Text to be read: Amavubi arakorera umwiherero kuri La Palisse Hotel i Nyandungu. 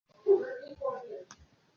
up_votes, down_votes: 0, 2